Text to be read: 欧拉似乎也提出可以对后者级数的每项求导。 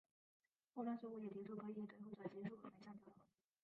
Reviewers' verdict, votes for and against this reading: rejected, 0, 4